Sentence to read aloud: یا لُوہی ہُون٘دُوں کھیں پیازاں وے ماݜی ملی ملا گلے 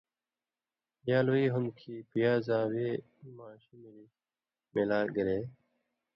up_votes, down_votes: 2, 0